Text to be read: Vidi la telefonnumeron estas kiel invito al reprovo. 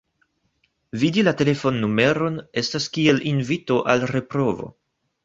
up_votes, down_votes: 2, 0